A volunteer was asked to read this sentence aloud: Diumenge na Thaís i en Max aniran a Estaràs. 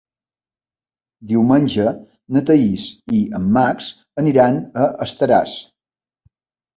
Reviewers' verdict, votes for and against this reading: accepted, 3, 0